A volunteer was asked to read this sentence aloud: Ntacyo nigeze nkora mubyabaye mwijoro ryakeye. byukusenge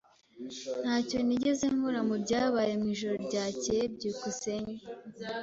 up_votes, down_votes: 3, 0